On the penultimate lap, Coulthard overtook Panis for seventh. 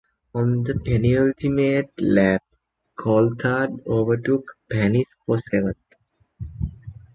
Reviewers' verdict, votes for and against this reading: rejected, 1, 2